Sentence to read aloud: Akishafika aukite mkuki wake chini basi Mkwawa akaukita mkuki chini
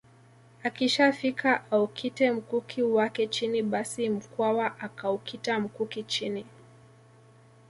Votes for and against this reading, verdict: 1, 2, rejected